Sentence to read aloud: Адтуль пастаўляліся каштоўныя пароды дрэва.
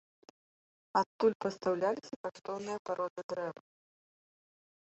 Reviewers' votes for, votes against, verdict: 1, 2, rejected